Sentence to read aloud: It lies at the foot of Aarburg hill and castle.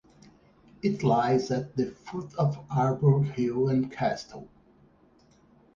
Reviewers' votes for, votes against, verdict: 4, 0, accepted